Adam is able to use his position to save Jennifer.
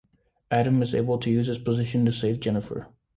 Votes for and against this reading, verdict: 2, 0, accepted